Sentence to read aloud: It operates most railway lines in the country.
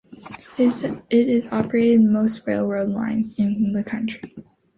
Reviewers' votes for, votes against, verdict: 0, 2, rejected